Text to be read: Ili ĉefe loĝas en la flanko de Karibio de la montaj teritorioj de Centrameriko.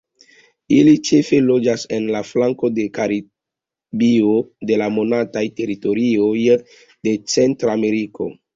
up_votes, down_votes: 2, 1